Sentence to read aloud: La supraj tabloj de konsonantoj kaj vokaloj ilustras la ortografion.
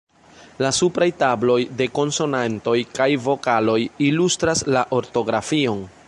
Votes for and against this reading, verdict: 1, 2, rejected